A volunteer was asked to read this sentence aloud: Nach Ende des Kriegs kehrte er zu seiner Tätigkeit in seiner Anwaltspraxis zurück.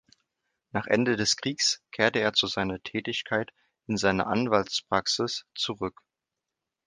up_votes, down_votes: 2, 0